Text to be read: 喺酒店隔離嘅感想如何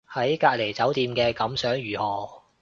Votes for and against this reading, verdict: 1, 2, rejected